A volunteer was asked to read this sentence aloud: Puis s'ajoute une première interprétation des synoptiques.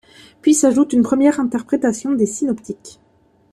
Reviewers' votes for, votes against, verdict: 2, 0, accepted